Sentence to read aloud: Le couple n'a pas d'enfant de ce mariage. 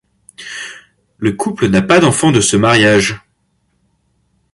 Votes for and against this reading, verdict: 2, 0, accepted